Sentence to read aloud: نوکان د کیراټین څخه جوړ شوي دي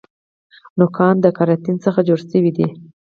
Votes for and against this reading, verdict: 4, 0, accepted